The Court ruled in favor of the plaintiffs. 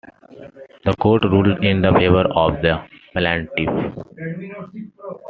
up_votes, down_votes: 0, 2